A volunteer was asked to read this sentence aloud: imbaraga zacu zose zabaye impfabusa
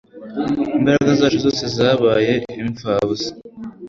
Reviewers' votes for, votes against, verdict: 2, 0, accepted